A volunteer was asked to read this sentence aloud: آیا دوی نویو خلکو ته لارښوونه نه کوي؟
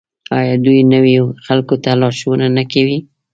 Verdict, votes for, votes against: rejected, 0, 2